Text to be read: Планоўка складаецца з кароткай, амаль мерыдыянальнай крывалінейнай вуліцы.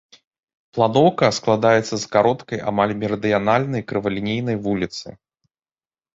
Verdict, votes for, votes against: accepted, 2, 0